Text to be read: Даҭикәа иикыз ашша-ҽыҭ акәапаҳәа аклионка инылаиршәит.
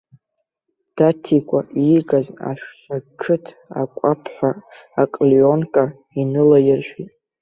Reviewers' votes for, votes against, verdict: 0, 2, rejected